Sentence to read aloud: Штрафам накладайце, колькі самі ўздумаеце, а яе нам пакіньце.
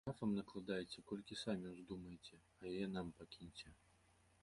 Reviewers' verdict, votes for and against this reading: rejected, 0, 3